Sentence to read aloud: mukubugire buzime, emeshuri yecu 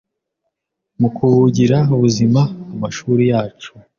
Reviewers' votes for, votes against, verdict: 1, 2, rejected